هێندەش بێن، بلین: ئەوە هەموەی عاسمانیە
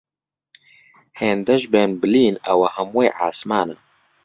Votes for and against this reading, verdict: 0, 2, rejected